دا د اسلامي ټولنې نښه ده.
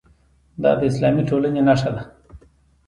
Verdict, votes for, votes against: accepted, 2, 0